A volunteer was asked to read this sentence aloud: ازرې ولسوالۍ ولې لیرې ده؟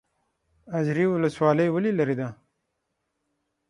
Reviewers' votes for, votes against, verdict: 3, 6, rejected